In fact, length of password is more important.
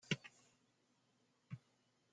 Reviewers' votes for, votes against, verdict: 0, 2, rejected